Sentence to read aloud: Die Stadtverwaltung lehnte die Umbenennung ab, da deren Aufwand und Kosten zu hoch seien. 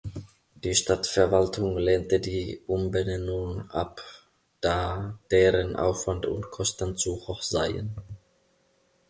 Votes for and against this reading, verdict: 2, 0, accepted